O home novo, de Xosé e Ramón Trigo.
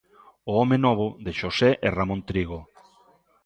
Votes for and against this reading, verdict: 2, 0, accepted